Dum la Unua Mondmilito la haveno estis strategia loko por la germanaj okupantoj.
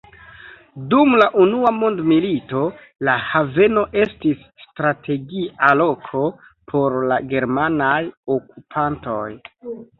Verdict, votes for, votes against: rejected, 1, 2